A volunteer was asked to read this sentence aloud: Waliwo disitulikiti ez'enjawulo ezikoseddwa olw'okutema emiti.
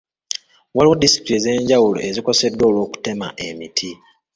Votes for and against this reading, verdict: 1, 2, rejected